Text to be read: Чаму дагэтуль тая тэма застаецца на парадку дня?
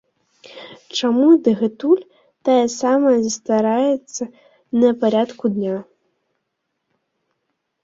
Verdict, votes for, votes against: rejected, 0, 3